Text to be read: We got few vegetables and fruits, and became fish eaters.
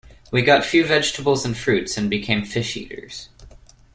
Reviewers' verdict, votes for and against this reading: accepted, 2, 0